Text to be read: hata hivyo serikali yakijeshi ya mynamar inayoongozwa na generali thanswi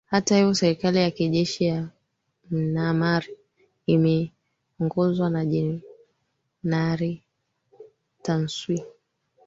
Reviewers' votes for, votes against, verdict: 1, 2, rejected